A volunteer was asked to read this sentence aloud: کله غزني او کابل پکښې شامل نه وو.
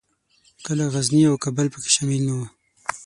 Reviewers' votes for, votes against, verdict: 6, 0, accepted